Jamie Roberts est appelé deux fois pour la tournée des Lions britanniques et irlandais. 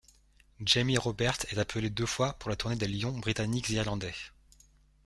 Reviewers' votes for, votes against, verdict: 2, 0, accepted